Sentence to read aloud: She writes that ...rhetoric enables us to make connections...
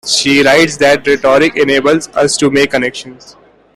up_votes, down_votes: 2, 0